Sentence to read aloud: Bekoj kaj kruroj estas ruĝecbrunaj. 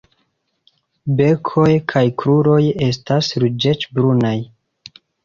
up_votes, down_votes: 1, 2